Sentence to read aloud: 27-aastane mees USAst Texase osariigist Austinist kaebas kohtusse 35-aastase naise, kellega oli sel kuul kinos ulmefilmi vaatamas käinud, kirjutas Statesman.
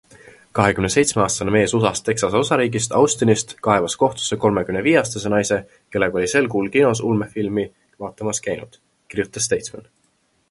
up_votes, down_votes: 0, 2